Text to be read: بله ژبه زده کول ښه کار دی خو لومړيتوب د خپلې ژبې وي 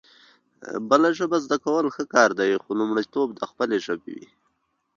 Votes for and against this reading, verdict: 2, 0, accepted